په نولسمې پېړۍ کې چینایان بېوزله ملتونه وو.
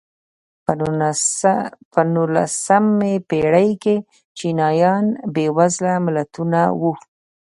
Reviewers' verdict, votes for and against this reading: accepted, 2, 0